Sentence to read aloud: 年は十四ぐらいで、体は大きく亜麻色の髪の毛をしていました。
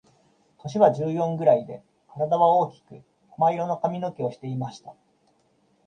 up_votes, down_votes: 2, 1